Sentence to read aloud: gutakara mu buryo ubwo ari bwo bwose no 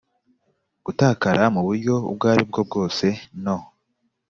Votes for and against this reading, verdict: 2, 0, accepted